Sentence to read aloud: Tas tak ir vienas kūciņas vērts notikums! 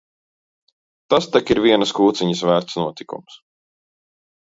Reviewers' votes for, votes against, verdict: 2, 0, accepted